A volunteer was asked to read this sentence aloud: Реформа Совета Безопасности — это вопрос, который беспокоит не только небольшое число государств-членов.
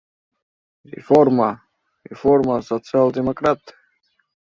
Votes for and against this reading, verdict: 0, 2, rejected